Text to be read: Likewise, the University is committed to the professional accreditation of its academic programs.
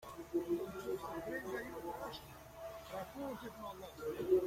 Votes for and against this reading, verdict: 0, 2, rejected